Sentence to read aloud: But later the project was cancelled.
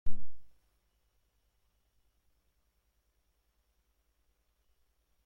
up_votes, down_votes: 0, 2